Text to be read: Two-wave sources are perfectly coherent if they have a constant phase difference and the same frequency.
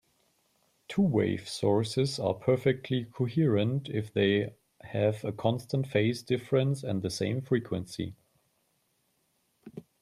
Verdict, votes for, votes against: accepted, 2, 0